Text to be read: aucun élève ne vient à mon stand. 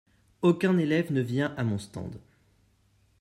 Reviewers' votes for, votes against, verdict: 2, 0, accepted